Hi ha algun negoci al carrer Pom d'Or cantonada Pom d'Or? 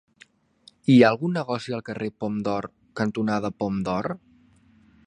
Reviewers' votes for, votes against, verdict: 3, 0, accepted